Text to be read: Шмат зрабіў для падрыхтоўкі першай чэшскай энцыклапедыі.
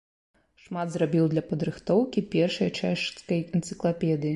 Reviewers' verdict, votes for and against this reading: rejected, 0, 2